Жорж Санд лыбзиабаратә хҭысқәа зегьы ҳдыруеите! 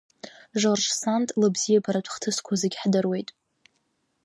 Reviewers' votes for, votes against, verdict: 0, 2, rejected